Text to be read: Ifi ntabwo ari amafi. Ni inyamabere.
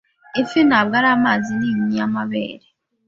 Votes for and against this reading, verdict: 1, 2, rejected